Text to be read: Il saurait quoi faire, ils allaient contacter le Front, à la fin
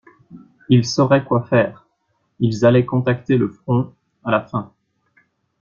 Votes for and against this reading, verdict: 2, 0, accepted